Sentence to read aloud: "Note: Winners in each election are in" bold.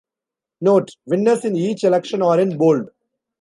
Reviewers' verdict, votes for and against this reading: accepted, 2, 0